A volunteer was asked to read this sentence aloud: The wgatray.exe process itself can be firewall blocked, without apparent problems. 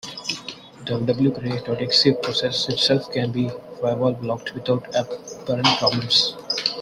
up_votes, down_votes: 0, 2